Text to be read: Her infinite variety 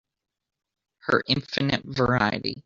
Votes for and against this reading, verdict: 2, 1, accepted